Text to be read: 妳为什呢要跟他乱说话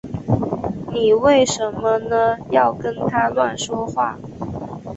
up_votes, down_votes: 3, 2